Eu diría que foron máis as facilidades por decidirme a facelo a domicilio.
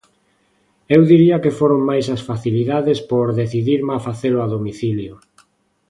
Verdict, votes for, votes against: accepted, 2, 0